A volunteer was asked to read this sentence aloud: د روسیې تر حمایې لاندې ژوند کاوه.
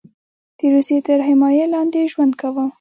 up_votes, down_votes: 2, 0